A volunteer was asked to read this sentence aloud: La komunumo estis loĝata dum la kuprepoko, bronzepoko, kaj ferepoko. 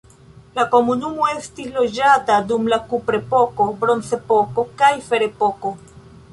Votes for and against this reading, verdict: 2, 1, accepted